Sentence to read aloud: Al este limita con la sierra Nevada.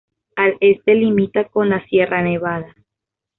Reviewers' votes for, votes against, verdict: 2, 0, accepted